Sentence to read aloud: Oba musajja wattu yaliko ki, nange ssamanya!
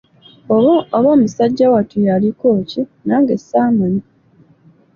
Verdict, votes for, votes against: rejected, 1, 2